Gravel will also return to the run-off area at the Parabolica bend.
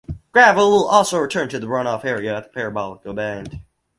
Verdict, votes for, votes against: rejected, 2, 2